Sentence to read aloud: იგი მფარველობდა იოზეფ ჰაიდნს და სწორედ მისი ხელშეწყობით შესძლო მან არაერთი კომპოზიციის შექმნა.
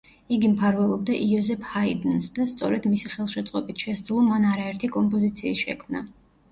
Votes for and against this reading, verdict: 2, 0, accepted